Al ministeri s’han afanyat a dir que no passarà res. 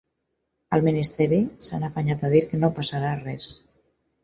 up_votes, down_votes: 6, 0